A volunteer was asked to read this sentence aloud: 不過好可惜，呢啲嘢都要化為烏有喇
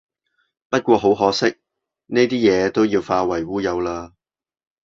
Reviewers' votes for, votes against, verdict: 2, 0, accepted